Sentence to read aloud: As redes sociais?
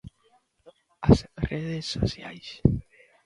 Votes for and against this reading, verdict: 0, 2, rejected